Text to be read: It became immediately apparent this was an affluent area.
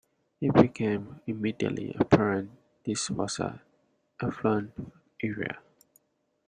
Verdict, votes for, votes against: rejected, 0, 2